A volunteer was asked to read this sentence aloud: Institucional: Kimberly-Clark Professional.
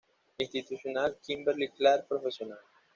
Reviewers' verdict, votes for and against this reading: accepted, 2, 0